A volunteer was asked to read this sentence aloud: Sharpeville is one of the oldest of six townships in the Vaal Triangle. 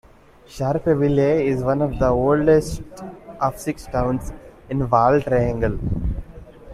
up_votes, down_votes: 0, 2